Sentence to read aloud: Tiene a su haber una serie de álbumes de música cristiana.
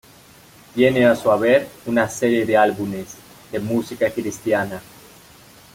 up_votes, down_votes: 0, 2